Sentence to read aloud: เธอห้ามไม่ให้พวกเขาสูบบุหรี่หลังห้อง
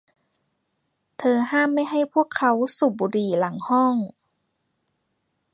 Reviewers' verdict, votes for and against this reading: rejected, 0, 2